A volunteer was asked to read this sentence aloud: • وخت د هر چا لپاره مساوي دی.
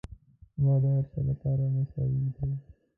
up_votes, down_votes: 0, 2